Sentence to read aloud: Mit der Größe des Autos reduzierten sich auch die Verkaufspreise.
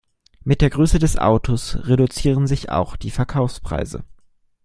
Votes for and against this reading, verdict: 0, 2, rejected